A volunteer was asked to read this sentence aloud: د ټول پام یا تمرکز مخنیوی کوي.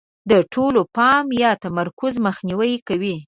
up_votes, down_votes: 4, 0